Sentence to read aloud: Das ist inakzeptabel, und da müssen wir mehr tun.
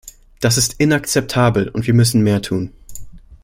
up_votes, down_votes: 0, 2